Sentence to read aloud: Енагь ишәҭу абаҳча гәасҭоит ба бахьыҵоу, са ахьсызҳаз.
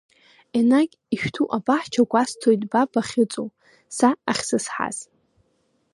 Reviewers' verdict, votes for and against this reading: rejected, 0, 2